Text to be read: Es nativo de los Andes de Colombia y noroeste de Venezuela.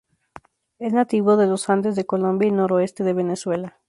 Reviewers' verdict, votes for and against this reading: rejected, 2, 2